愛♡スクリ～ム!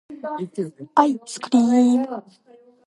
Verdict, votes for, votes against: accepted, 2, 0